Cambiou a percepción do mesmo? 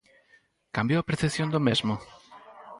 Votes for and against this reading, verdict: 2, 2, rejected